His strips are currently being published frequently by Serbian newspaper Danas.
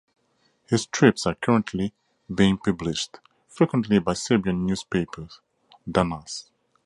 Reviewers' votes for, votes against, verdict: 2, 2, rejected